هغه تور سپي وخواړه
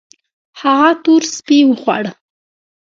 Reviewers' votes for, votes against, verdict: 1, 2, rejected